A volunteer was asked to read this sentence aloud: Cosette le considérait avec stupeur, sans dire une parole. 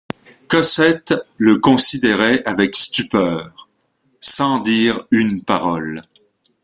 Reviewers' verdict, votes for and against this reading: accepted, 2, 0